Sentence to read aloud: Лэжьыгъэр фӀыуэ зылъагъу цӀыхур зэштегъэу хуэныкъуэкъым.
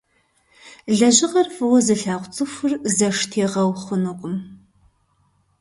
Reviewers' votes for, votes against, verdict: 1, 2, rejected